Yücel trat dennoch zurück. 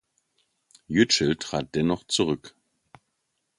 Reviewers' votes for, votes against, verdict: 2, 0, accepted